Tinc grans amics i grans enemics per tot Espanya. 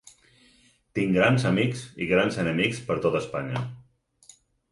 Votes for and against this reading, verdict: 6, 2, accepted